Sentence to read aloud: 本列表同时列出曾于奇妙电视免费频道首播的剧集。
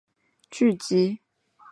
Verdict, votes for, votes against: rejected, 0, 2